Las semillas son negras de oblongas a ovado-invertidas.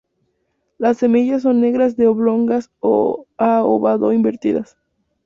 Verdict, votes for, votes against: accepted, 2, 0